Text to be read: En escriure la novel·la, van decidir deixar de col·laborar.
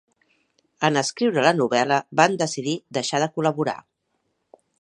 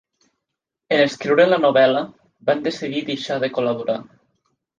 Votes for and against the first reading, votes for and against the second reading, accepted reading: 4, 0, 0, 2, first